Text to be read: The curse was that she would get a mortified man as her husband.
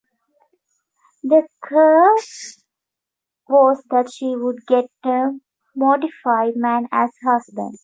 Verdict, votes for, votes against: rejected, 0, 2